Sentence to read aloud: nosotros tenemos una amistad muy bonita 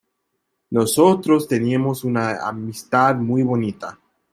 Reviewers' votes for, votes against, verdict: 1, 2, rejected